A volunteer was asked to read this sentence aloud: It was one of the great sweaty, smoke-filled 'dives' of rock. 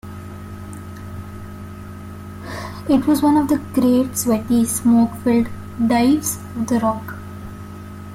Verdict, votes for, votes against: rejected, 1, 2